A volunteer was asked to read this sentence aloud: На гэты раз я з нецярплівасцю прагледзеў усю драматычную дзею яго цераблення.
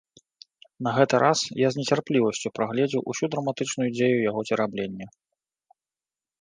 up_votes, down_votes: 2, 0